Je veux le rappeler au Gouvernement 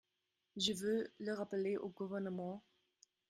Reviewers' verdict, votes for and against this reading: rejected, 1, 2